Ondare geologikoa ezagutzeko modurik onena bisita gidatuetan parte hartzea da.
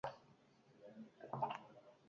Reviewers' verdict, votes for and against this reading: rejected, 0, 8